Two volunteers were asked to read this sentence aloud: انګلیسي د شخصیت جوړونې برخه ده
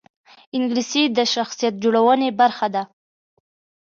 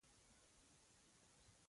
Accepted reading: first